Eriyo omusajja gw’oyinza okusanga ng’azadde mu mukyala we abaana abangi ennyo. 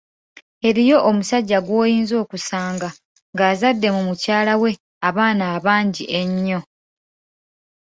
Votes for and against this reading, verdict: 2, 0, accepted